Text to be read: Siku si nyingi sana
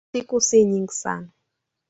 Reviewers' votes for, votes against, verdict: 0, 3, rejected